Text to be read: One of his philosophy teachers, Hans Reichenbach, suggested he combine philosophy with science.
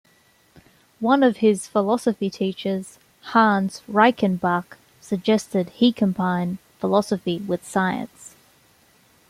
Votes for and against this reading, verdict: 2, 0, accepted